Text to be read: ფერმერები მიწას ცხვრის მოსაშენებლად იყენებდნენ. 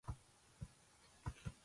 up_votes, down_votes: 0, 2